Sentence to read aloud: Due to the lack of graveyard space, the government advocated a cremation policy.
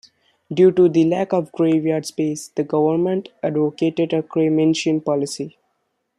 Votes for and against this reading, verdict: 1, 2, rejected